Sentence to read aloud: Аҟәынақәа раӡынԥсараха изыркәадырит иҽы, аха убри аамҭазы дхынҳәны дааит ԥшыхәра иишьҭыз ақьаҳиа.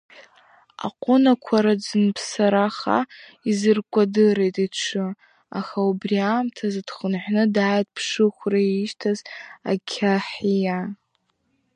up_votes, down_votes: 2, 0